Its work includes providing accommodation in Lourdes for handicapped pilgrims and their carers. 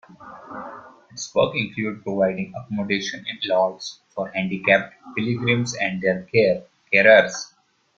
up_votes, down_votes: 0, 2